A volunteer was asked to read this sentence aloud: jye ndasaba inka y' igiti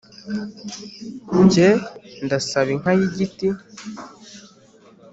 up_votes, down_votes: 2, 1